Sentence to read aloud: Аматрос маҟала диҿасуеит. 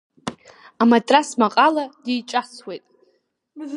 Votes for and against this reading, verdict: 0, 2, rejected